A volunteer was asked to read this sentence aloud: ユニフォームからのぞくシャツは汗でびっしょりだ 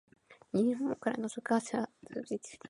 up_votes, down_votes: 1, 2